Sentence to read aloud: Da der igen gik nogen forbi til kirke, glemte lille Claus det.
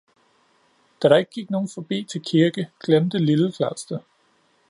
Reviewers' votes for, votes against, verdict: 0, 2, rejected